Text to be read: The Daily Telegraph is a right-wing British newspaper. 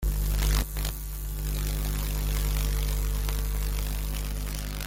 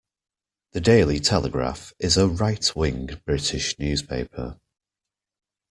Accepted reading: second